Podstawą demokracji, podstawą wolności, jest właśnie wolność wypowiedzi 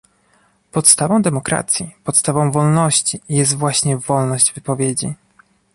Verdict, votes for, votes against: accepted, 2, 0